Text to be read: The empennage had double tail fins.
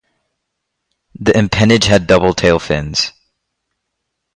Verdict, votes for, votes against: rejected, 0, 2